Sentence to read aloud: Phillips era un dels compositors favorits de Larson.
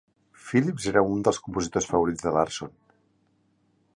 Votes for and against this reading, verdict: 2, 0, accepted